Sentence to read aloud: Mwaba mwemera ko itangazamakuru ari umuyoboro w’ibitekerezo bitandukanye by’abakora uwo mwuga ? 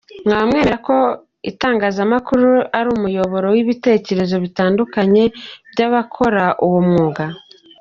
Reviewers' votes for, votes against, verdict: 2, 0, accepted